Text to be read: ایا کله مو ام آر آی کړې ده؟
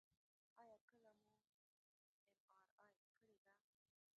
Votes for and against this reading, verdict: 0, 2, rejected